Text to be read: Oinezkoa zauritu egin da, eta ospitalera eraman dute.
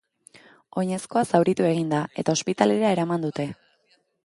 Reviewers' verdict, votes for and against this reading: accepted, 3, 0